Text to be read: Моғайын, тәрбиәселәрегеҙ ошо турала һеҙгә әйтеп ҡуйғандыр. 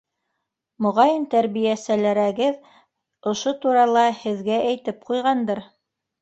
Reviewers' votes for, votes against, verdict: 0, 2, rejected